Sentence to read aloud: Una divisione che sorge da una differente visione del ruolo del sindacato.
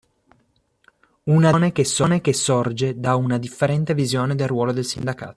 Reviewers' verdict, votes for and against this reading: rejected, 0, 2